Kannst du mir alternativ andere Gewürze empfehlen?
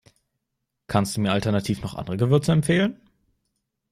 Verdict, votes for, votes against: rejected, 0, 2